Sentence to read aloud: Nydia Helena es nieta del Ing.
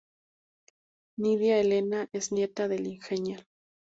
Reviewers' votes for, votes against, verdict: 0, 2, rejected